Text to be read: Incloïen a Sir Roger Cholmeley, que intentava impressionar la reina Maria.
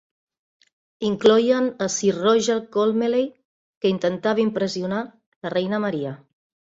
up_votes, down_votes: 0, 4